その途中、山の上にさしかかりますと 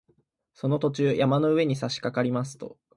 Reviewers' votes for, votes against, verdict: 2, 0, accepted